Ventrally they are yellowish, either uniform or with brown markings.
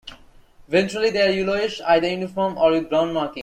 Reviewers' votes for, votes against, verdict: 1, 2, rejected